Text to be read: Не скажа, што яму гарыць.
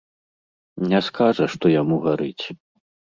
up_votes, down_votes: 2, 0